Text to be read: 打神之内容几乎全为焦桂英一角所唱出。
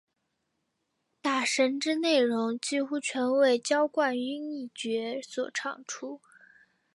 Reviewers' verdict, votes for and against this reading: accepted, 5, 0